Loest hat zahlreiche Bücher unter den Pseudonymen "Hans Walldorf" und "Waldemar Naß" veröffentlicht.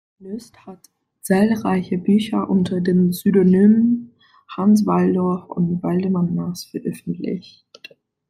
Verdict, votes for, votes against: rejected, 0, 2